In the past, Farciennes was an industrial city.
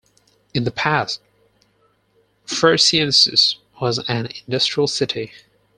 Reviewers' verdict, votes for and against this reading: rejected, 0, 4